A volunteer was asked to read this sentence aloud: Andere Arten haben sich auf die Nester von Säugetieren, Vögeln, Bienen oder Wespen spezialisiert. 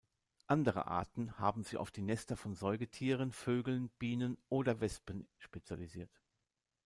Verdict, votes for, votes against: rejected, 0, 2